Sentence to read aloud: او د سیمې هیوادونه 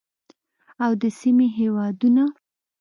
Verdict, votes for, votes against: accepted, 2, 0